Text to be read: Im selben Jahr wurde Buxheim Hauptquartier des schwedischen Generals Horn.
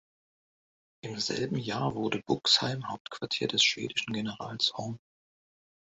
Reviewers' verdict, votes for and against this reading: accepted, 2, 0